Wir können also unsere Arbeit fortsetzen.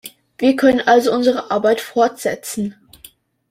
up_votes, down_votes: 2, 0